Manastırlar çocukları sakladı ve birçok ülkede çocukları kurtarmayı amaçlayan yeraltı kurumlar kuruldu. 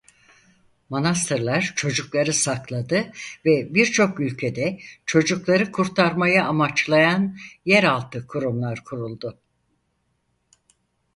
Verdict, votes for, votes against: accepted, 4, 0